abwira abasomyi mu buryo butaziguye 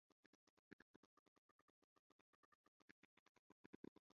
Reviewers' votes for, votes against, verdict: 1, 2, rejected